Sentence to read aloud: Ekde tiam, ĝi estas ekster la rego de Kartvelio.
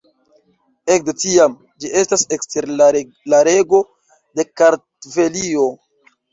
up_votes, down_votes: 1, 2